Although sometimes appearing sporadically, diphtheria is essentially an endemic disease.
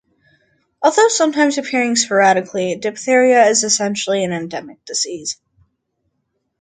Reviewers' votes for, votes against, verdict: 2, 0, accepted